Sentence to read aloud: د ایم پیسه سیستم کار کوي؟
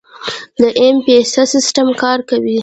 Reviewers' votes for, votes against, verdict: 2, 0, accepted